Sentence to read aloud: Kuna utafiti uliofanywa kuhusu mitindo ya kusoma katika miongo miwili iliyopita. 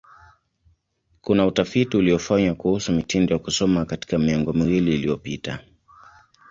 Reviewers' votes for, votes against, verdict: 2, 0, accepted